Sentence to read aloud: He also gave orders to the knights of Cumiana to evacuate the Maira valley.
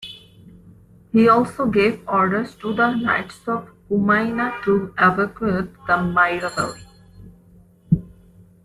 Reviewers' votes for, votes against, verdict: 2, 0, accepted